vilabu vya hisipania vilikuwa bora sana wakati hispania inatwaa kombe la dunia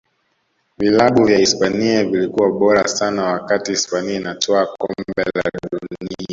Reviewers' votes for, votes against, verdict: 0, 2, rejected